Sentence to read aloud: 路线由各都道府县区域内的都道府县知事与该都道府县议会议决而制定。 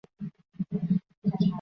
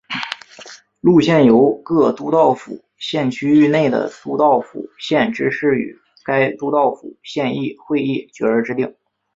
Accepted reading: second